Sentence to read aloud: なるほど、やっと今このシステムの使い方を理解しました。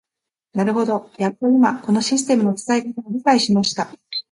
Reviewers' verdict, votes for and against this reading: rejected, 1, 2